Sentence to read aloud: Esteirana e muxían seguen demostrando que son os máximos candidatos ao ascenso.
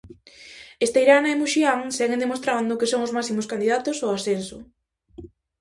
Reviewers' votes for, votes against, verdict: 2, 0, accepted